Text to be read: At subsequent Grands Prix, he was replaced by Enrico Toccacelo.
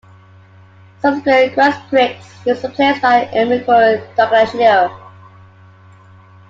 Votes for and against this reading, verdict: 1, 2, rejected